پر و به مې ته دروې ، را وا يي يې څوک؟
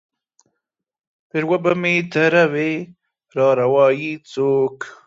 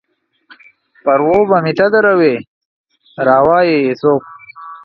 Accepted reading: second